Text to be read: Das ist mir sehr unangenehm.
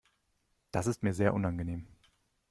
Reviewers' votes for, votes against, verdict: 2, 0, accepted